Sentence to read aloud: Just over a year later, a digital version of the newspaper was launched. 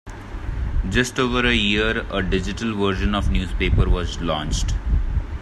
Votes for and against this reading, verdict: 0, 3, rejected